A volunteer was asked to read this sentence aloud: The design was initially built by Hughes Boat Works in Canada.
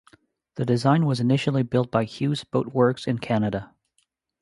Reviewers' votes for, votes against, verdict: 2, 0, accepted